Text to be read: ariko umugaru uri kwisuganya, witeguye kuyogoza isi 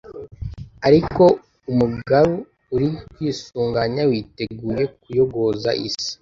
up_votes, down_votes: 2, 1